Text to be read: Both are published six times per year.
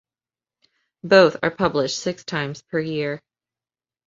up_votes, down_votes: 2, 0